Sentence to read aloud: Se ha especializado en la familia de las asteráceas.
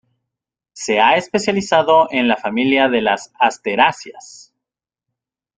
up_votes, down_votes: 2, 0